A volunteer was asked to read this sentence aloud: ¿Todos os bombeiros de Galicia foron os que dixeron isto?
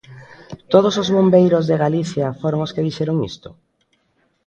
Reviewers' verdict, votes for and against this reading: accepted, 2, 0